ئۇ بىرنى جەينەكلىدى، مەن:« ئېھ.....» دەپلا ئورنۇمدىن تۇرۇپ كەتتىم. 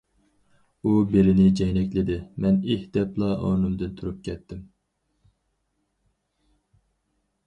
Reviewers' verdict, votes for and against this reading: rejected, 2, 2